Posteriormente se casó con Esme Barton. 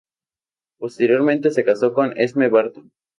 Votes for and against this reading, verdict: 2, 0, accepted